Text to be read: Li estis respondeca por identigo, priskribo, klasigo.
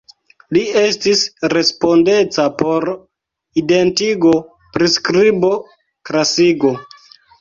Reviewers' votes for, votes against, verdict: 1, 2, rejected